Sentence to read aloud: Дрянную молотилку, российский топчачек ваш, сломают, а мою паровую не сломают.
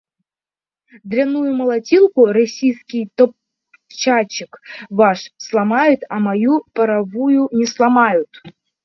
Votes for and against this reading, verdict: 1, 2, rejected